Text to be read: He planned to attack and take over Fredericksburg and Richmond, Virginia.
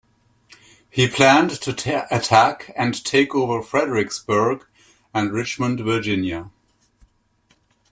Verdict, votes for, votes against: accepted, 2, 1